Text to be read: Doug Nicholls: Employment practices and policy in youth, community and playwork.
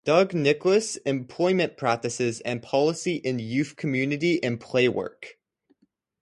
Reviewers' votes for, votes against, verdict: 2, 0, accepted